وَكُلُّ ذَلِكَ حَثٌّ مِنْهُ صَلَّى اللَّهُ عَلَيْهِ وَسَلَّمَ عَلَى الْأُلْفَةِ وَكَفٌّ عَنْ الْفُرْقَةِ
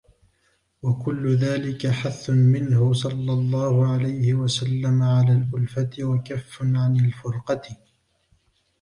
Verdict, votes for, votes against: rejected, 1, 2